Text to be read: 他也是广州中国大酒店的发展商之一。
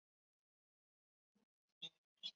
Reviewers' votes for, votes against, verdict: 0, 2, rejected